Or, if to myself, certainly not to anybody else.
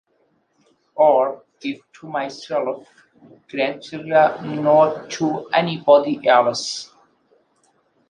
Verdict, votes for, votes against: rejected, 0, 2